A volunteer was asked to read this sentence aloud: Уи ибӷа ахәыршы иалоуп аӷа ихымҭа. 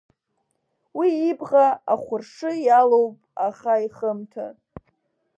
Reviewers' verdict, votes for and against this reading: accepted, 2, 0